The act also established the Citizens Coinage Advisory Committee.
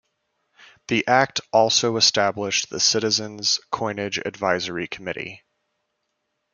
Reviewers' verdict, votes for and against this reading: accepted, 2, 0